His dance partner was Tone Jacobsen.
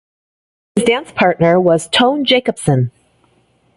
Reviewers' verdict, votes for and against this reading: accepted, 2, 0